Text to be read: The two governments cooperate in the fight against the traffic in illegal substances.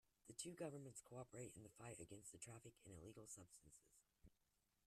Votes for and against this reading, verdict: 0, 2, rejected